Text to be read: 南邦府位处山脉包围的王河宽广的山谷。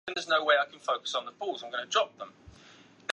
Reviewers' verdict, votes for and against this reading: rejected, 0, 2